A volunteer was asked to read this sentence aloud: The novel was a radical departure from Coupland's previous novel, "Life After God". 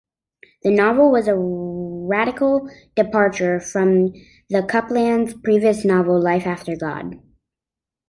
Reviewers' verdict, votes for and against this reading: rejected, 1, 2